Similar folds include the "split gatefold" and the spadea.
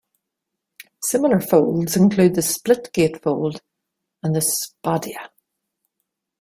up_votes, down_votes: 3, 1